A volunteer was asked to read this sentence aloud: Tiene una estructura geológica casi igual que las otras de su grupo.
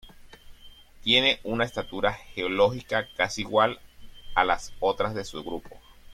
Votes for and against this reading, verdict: 1, 2, rejected